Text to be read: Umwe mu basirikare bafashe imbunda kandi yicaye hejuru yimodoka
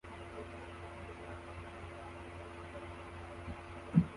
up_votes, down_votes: 0, 2